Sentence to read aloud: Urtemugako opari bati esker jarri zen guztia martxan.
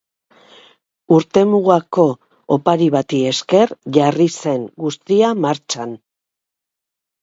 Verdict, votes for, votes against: accepted, 2, 0